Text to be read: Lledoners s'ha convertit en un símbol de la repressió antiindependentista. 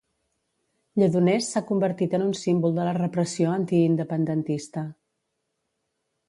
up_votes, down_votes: 2, 0